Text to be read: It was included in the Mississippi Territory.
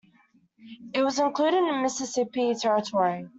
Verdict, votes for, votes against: accepted, 2, 0